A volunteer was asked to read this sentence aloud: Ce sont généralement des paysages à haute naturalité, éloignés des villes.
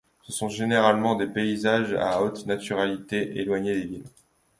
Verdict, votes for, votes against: accepted, 2, 0